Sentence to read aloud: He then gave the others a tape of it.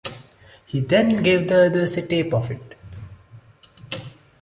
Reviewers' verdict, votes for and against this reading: accepted, 2, 0